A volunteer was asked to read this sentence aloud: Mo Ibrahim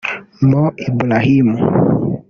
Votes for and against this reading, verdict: 1, 2, rejected